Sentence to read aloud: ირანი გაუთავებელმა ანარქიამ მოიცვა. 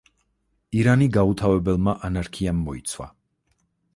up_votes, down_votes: 4, 0